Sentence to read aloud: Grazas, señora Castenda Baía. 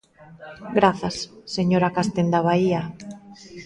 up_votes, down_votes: 0, 2